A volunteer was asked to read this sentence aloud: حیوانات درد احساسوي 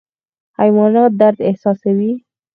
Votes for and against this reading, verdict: 4, 0, accepted